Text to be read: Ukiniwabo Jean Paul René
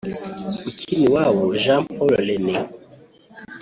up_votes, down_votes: 1, 2